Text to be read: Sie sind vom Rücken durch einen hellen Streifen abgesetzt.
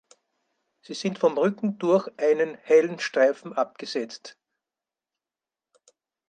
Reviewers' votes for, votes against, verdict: 4, 0, accepted